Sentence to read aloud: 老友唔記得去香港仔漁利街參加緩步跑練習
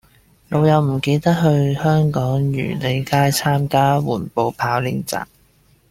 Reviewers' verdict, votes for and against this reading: rejected, 0, 2